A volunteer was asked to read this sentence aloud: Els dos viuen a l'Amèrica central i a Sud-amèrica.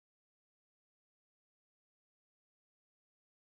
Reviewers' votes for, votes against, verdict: 0, 2, rejected